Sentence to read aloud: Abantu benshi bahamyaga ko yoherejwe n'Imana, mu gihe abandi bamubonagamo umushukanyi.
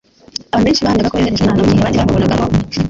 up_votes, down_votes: 0, 2